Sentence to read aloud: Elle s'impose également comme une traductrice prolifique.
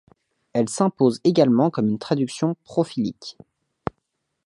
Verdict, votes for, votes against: rejected, 1, 2